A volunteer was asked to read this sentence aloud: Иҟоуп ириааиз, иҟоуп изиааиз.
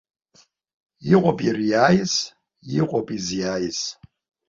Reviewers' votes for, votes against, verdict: 2, 0, accepted